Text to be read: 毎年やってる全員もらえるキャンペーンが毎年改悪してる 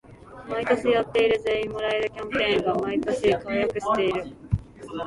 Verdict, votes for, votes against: rejected, 0, 2